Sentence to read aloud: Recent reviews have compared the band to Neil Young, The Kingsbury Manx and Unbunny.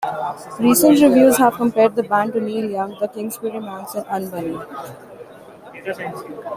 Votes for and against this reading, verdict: 1, 2, rejected